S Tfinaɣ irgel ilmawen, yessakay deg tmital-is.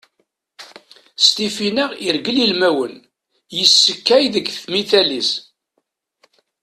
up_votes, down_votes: 1, 2